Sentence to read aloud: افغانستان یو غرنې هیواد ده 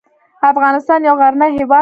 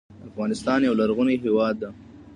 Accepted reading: second